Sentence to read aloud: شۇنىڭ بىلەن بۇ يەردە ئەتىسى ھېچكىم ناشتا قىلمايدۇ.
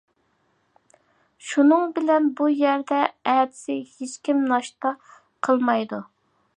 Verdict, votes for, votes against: accepted, 2, 0